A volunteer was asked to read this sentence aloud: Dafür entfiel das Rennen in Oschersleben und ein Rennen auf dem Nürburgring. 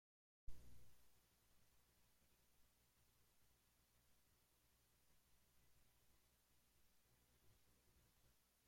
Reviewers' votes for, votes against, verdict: 0, 2, rejected